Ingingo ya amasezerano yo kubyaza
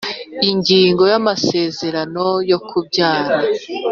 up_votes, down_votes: 2, 0